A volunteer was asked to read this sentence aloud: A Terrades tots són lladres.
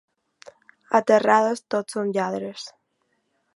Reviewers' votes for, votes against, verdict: 2, 0, accepted